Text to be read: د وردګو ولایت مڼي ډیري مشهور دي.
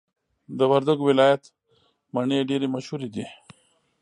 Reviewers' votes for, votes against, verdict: 0, 2, rejected